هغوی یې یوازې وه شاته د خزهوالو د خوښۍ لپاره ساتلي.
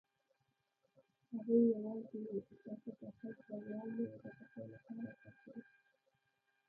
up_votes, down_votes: 0, 2